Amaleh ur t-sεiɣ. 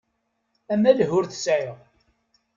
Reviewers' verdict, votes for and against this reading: accepted, 2, 0